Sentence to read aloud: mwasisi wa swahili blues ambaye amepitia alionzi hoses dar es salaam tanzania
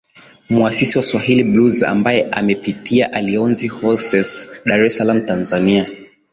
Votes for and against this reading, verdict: 2, 1, accepted